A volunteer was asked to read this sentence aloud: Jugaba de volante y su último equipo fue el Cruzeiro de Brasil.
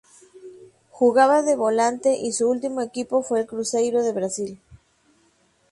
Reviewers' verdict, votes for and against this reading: rejected, 2, 2